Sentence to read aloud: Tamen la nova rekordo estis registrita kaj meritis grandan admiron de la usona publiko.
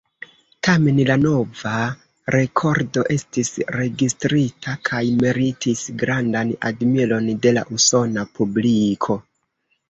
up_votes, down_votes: 2, 0